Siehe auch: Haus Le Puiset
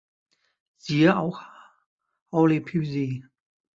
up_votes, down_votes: 1, 2